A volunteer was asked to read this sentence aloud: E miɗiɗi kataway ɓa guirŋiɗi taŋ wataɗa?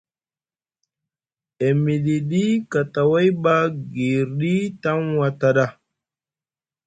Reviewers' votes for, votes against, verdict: 2, 3, rejected